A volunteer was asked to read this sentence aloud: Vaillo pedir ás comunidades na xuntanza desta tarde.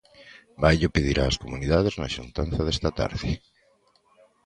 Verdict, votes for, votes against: accepted, 2, 0